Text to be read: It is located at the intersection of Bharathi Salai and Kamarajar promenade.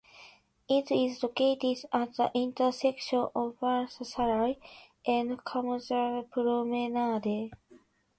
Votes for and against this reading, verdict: 0, 2, rejected